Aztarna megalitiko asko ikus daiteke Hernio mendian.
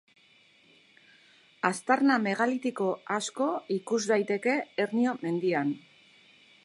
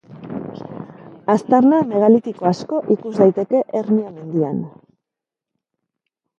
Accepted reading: second